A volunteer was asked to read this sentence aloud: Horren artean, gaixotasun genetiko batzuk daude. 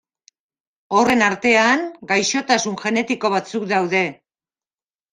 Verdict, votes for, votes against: accepted, 2, 0